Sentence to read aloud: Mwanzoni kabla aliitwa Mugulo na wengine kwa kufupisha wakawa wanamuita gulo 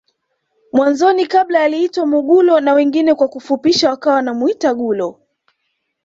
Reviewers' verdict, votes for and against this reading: accepted, 2, 1